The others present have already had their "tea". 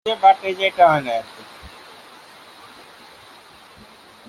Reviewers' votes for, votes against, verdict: 0, 2, rejected